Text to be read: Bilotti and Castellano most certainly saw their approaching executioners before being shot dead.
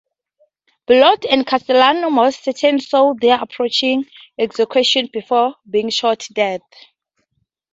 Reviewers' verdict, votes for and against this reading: rejected, 0, 2